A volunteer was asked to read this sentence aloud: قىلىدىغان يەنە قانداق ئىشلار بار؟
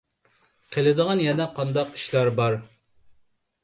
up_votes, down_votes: 2, 0